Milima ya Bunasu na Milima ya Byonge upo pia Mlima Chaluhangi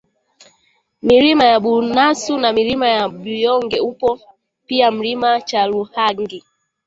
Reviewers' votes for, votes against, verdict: 1, 2, rejected